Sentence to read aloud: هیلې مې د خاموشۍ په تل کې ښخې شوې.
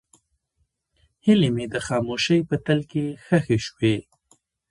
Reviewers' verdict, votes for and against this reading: rejected, 1, 2